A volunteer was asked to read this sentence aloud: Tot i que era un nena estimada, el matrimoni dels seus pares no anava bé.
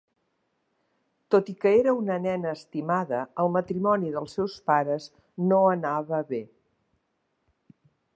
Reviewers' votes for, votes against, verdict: 2, 0, accepted